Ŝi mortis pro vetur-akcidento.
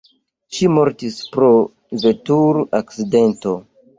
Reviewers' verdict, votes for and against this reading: rejected, 1, 2